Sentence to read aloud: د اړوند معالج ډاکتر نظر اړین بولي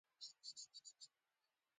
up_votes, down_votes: 0, 2